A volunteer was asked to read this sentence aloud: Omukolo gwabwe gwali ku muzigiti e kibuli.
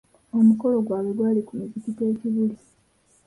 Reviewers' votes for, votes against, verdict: 2, 0, accepted